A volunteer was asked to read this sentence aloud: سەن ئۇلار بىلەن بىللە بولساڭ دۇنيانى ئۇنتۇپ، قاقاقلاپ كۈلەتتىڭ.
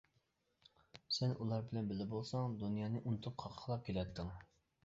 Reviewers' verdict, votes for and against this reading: accepted, 2, 0